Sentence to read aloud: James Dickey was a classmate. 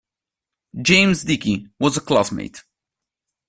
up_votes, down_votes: 2, 1